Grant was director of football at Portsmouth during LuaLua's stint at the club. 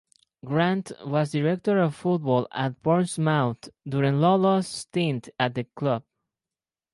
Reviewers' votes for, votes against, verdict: 0, 4, rejected